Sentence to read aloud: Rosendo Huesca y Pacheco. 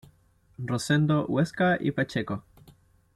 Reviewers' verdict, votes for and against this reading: accepted, 2, 0